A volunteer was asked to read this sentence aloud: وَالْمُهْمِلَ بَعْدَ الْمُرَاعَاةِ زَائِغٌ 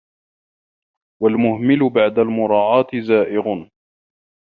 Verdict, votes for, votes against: accepted, 2, 1